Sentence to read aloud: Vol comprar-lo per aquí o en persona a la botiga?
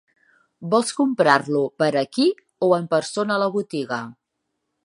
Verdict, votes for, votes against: rejected, 1, 2